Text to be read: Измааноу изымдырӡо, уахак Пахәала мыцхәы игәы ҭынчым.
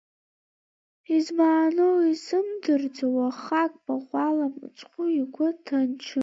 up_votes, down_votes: 2, 1